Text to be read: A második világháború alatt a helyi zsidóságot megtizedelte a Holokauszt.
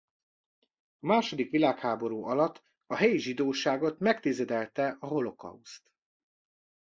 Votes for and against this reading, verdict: 0, 2, rejected